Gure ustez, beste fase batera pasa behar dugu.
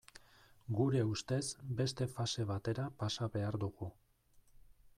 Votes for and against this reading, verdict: 2, 0, accepted